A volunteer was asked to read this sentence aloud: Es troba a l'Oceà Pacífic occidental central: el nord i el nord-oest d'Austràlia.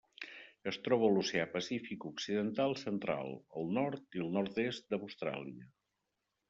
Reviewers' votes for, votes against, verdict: 0, 2, rejected